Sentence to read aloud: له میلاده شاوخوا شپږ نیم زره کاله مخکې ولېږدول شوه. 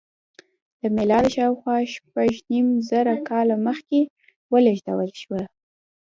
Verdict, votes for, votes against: rejected, 1, 2